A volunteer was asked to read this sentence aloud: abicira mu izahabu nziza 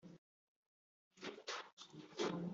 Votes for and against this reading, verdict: 1, 2, rejected